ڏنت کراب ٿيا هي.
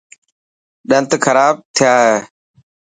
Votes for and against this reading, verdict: 4, 0, accepted